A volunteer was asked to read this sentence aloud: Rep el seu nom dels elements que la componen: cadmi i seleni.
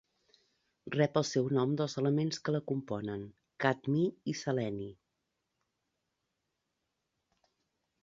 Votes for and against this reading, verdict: 2, 0, accepted